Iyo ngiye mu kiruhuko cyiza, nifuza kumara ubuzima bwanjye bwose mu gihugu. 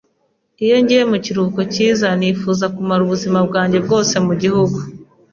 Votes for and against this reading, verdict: 2, 0, accepted